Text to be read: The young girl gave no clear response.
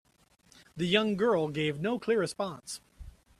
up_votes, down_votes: 2, 0